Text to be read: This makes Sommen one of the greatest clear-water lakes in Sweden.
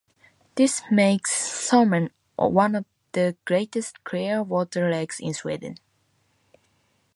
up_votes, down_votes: 0, 2